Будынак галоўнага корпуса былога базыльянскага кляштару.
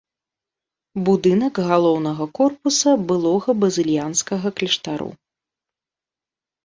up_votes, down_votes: 0, 2